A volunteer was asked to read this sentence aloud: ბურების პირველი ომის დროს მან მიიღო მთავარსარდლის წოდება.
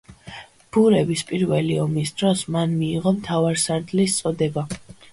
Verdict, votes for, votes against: accepted, 2, 0